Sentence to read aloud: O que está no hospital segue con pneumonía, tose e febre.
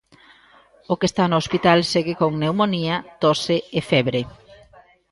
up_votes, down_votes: 1, 2